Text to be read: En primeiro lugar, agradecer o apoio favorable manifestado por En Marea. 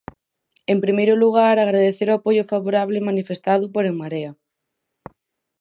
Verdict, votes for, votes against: accepted, 4, 0